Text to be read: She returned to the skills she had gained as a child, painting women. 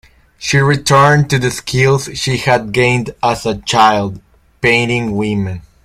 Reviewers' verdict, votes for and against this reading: rejected, 0, 2